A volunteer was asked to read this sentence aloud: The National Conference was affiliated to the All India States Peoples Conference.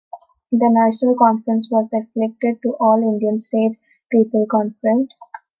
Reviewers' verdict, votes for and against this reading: rejected, 0, 2